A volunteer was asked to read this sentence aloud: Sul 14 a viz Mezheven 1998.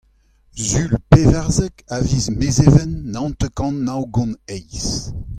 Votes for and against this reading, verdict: 0, 2, rejected